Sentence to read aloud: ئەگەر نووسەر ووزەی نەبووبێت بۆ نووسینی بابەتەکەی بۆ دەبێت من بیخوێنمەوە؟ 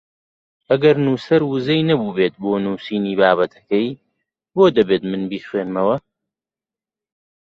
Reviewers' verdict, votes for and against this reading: accepted, 2, 1